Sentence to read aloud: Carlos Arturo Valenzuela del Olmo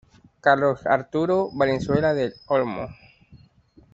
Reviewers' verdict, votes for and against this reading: accepted, 2, 1